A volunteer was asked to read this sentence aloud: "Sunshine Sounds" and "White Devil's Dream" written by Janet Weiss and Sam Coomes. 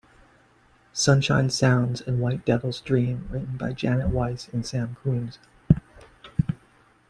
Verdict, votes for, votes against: accepted, 2, 0